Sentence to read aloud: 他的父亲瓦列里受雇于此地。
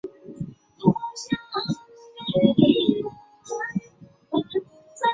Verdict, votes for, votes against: rejected, 0, 2